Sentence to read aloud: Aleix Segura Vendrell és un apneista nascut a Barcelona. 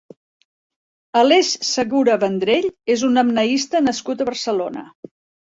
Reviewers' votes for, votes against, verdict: 2, 0, accepted